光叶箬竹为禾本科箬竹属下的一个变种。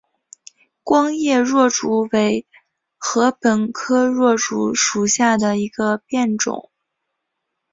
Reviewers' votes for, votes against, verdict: 4, 0, accepted